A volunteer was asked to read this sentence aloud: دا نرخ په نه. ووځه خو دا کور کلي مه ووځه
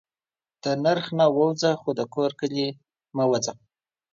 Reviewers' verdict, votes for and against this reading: rejected, 1, 2